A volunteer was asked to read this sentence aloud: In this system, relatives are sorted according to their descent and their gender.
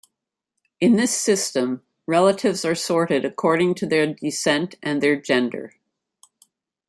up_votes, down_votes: 2, 0